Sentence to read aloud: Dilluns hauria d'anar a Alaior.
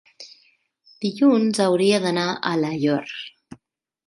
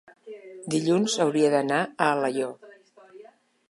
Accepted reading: first